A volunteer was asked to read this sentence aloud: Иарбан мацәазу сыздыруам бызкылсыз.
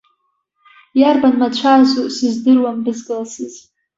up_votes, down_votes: 2, 0